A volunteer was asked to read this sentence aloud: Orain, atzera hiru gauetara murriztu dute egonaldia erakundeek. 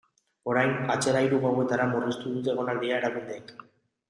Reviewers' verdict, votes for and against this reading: accepted, 2, 1